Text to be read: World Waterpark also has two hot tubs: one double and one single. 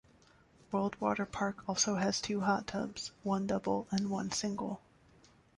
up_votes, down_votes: 2, 0